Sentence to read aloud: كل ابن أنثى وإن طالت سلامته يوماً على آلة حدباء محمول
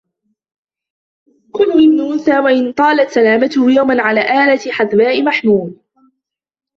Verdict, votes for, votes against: rejected, 1, 2